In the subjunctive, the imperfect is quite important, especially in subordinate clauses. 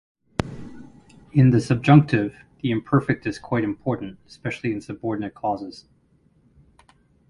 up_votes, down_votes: 4, 0